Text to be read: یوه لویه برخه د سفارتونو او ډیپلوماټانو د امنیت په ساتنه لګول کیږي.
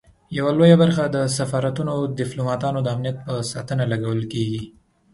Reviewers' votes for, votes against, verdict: 2, 0, accepted